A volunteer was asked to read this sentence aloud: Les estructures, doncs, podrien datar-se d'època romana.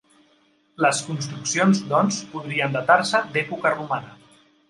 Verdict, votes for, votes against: rejected, 0, 2